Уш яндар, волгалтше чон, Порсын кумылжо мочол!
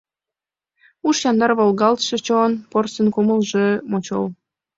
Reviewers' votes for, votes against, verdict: 2, 0, accepted